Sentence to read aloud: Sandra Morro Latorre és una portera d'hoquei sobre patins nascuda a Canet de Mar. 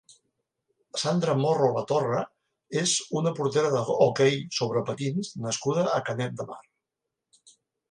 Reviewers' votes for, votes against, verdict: 0, 2, rejected